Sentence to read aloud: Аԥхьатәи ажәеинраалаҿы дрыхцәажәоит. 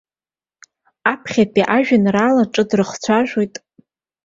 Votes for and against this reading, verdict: 2, 0, accepted